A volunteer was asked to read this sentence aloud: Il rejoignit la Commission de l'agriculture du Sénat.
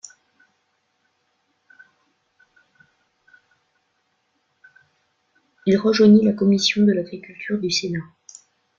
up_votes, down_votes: 1, 2